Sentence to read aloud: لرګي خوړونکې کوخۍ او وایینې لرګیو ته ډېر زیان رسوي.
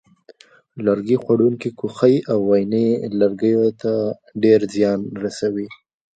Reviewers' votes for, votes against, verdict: 1, 2, rejected